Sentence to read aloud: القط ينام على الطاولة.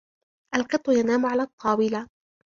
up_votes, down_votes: 2, 0